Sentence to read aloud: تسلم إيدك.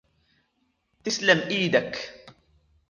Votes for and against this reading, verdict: 1, 2, rejected